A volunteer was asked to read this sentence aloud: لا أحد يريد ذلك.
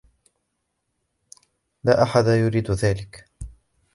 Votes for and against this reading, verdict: 2, 0, accepted